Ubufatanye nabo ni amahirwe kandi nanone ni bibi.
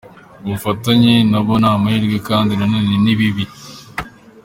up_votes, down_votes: 2, 0